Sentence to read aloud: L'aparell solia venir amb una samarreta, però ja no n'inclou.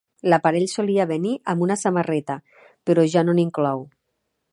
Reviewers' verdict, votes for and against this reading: accepted, 2, 0